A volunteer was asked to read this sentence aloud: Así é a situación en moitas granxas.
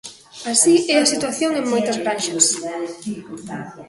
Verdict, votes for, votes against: rejected, 0, 2